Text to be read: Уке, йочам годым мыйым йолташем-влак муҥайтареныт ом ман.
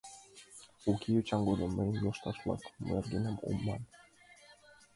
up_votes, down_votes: 0, 2